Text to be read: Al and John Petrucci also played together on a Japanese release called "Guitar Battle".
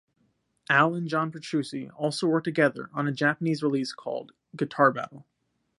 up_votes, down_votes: 0, 2